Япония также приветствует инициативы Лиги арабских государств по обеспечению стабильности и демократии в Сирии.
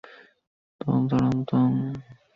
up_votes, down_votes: 0, 2